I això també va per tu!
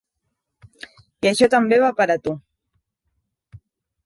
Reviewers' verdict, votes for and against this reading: rejected, 0, 2